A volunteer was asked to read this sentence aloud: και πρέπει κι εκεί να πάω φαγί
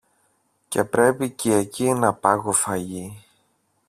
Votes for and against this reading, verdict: 1, 2, rejected